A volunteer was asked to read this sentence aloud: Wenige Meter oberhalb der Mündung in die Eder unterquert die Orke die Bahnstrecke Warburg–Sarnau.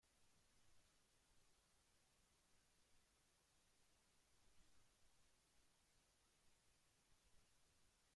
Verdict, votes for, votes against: rejected, 0, 2